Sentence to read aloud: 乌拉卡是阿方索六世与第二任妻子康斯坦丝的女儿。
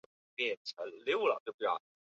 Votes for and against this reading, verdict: 0, 2, rejected